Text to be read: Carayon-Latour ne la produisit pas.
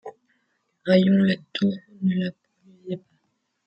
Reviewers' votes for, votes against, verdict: 1, 2, rejected